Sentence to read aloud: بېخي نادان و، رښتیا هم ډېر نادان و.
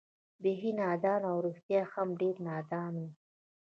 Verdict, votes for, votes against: rejected, 1, 2